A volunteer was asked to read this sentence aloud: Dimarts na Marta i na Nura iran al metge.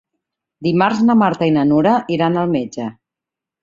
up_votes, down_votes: 3, 0